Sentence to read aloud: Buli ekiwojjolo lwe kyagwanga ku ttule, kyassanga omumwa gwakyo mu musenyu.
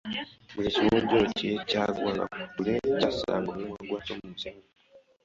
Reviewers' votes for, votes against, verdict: 0, 2, rejected